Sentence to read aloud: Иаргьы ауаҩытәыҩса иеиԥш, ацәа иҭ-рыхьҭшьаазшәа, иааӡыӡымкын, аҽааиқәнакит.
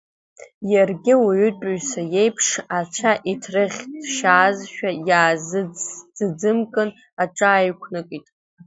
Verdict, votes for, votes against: rejected, 0, 2